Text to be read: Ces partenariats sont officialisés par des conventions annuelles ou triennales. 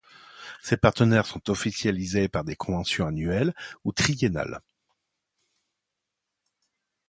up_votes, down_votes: 0, 2